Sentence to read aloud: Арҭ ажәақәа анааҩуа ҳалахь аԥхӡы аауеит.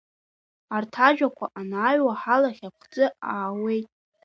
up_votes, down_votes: 2, 1